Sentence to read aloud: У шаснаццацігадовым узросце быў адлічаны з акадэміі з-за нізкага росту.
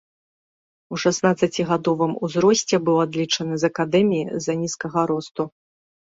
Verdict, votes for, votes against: accepted, 2, 0